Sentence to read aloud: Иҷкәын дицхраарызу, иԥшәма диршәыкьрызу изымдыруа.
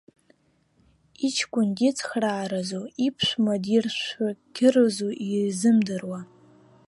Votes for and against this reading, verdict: 0, 2, rejected